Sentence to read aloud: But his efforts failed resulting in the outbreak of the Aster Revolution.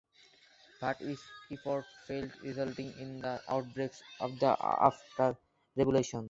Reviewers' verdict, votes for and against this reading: accepted, 3, 0